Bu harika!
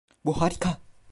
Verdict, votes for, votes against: rejected, 0, 2